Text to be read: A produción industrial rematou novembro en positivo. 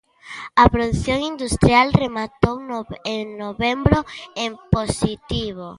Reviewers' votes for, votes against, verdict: 0, 2, rejected